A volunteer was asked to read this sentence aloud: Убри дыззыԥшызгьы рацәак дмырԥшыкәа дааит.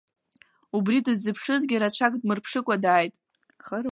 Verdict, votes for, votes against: rejected, 0, 2